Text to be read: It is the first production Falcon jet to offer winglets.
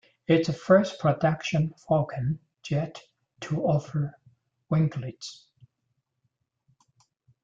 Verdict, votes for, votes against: rejected, 1, 2